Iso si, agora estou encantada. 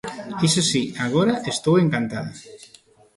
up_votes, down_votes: 3, 0